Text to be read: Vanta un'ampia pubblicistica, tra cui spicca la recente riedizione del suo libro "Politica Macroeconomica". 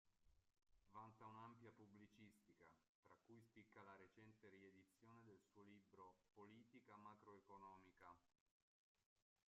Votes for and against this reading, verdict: 0, 2, rejected